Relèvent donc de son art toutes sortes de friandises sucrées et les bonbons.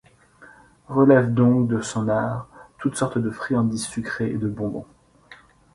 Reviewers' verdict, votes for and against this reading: rejected, 0, 2